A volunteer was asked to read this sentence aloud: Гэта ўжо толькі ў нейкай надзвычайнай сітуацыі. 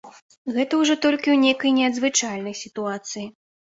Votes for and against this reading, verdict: 0, 2, rejected